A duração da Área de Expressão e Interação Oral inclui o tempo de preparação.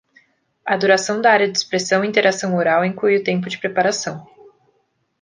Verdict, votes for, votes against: accepted, 2, 0